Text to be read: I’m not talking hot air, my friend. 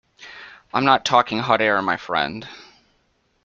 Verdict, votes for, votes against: accepted, 2, 0